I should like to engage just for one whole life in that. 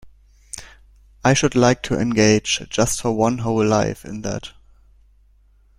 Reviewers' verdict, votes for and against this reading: accepted, 2, 0